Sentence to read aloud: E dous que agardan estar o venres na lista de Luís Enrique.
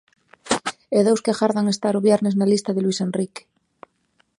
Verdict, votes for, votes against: rejected, 0, 2